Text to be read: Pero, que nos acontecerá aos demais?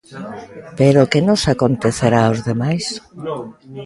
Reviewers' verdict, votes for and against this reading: rejected, 0, 2